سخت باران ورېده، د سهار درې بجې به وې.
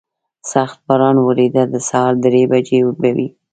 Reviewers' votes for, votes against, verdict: 1, 2, rejected